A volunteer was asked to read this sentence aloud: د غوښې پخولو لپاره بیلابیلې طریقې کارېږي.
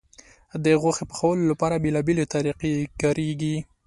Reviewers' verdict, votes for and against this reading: accepted, 2, 0